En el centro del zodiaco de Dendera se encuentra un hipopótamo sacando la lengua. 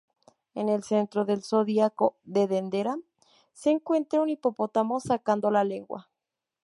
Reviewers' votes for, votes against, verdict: 0, 2, rejected